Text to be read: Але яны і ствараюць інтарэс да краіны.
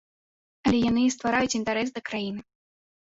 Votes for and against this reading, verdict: 3, 0, accepted